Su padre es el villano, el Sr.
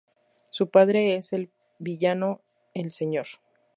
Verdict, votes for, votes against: rejected, 0, 2